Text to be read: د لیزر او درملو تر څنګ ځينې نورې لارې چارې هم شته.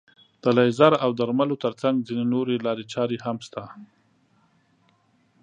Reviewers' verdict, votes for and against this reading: accepted, 2, 0